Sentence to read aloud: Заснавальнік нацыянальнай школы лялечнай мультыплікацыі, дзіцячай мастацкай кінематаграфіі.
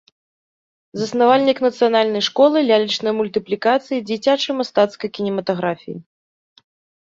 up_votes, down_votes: 3, 0